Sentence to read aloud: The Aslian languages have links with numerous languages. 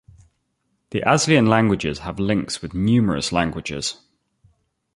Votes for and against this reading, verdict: 2, 0, accepted